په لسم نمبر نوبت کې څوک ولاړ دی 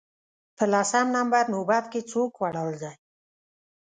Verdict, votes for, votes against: rejected, 1, 2